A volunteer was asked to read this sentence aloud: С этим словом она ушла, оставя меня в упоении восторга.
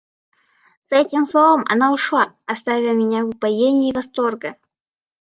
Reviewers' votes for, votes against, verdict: 2, 0, accepted